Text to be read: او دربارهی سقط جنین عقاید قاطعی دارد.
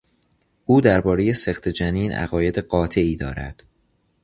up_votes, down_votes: 2, 0